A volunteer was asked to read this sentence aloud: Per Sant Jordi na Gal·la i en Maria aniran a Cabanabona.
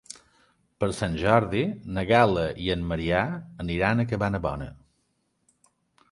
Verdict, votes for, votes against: rejected, 0, 2